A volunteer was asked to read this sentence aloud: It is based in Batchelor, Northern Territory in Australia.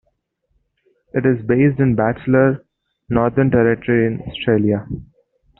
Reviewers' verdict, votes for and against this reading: accepted, 2, 1